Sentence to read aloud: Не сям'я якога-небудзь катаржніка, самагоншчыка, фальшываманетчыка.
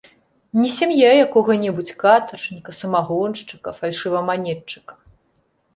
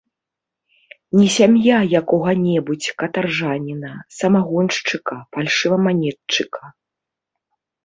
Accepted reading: first